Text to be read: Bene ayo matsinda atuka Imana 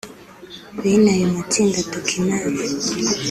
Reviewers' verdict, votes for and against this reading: rejected, 1, 2